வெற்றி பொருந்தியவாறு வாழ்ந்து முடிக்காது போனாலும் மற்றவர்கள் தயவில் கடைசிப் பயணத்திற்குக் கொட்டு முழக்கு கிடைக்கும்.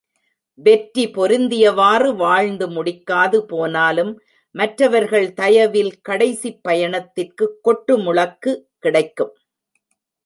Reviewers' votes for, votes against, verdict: 1, 2, rejected